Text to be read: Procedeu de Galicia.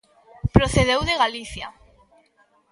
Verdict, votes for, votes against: rejected, 1, 2